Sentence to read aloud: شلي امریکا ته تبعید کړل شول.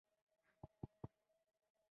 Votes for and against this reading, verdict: 2, 0, accepted